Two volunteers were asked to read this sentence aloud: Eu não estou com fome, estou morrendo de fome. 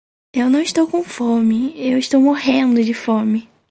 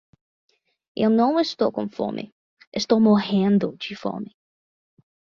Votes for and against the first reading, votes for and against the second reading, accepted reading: 0, 4, 10, 0, second